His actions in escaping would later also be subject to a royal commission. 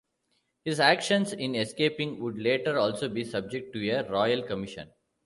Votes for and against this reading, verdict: 0, 2, rejected